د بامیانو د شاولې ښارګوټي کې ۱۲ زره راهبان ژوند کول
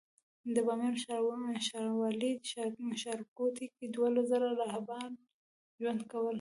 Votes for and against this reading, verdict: 0, 2, rejected